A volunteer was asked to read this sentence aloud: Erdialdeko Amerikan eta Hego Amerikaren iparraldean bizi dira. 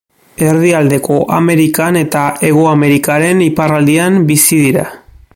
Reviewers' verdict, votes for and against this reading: accepted, 2, 0